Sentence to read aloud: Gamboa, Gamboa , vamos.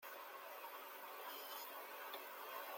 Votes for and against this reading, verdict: 0, 2, rejected